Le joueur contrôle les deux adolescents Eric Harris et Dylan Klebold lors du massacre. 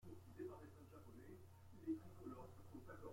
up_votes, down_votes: 1, 2